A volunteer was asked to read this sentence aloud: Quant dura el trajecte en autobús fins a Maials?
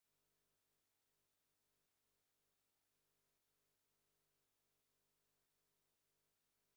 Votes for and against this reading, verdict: 0, 2, rejected